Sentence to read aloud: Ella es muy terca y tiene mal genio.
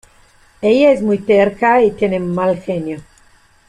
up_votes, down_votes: 2, 0